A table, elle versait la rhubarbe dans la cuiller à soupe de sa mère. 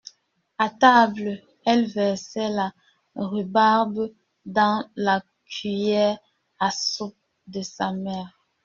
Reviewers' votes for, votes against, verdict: 1, 2, rejected